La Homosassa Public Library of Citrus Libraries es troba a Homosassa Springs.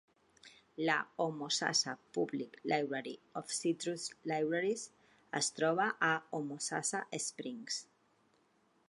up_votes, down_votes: 2, 0